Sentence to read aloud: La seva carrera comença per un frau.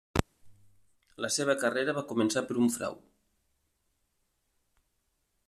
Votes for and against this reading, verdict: 0, 2, rejected